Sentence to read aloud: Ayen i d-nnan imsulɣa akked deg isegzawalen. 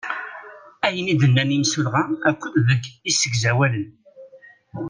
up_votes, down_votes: 2, 0